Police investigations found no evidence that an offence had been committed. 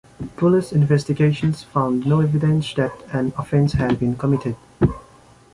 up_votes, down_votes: 2, 0